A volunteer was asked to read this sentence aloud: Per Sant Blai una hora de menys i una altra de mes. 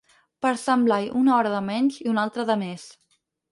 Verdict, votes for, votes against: accepted, 4, 0